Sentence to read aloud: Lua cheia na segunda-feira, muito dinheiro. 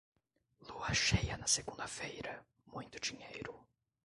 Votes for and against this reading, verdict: 2, 1, accepted